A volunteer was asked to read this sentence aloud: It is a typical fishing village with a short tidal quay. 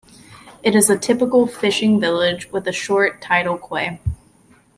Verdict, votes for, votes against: rejected, 0, 2